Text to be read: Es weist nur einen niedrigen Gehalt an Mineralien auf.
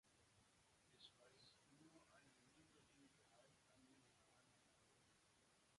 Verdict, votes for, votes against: rejected, 0, 2